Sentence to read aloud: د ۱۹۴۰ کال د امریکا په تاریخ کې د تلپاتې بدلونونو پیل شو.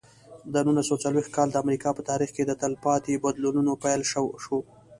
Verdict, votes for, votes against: rejected, 0, 2